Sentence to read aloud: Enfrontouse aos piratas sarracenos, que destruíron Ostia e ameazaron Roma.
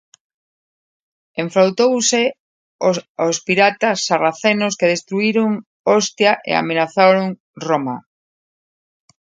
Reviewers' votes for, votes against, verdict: 0, 2, rejected